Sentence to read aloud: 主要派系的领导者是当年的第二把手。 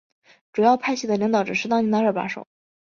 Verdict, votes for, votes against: accepted, 4, 0